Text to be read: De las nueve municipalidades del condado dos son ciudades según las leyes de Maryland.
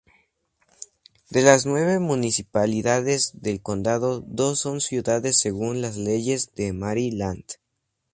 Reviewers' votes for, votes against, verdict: 2, 0, accepted